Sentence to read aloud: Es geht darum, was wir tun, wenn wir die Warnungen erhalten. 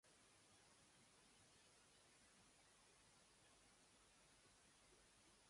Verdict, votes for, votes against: rejected, 0, 2